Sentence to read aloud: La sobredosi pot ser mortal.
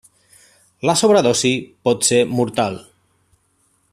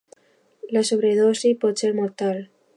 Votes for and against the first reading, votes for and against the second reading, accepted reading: 1, 2, 2, 0, second